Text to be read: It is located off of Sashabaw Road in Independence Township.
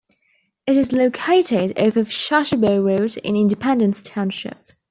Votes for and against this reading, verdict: 2, 1, accepted